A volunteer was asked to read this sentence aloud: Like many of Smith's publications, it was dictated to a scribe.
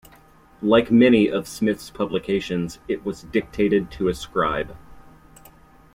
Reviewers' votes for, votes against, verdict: 2, 0, accepted